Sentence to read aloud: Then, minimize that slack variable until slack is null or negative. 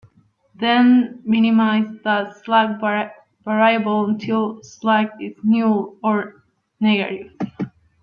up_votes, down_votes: 2, 1